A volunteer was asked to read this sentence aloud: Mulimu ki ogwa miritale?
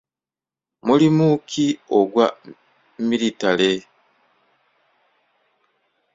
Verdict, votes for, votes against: rejected, 0, 2